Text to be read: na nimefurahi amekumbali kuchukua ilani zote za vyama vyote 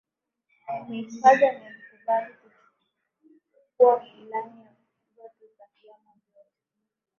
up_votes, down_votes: 0, 2